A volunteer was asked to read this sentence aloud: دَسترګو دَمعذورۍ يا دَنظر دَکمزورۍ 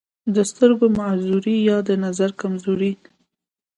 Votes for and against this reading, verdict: 2, 0, accepted